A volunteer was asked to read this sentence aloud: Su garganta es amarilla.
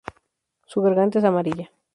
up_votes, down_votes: 0, 2